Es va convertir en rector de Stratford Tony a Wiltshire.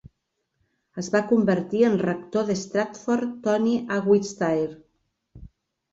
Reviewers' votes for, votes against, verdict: 2, 1, accepted